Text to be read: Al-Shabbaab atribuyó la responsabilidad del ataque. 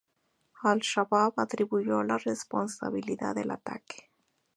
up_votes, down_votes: 0, 2